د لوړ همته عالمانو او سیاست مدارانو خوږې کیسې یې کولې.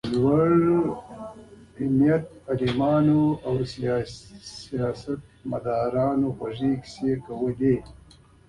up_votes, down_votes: 3, 0